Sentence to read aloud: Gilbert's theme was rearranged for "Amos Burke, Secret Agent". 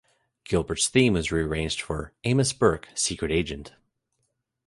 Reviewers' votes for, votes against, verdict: 2, 1, accepted